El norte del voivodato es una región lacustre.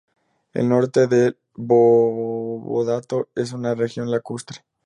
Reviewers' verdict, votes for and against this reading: rejected, 0, 2